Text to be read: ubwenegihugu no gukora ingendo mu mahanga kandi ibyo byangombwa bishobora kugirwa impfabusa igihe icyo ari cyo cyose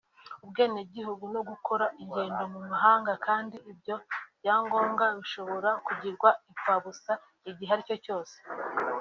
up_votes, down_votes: 2, 1